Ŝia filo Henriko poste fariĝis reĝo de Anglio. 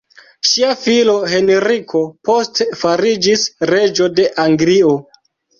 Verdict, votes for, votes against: rejected, 1, 2